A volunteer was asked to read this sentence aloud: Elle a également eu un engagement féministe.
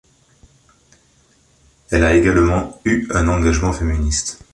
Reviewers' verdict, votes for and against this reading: accepted, 3, 0